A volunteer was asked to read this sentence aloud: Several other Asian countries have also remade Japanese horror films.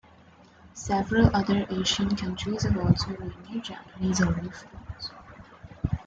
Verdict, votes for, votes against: rejected, 1, 2